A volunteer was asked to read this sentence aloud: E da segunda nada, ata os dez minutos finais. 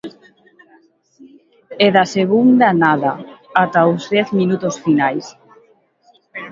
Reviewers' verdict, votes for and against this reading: accepted, 2, 0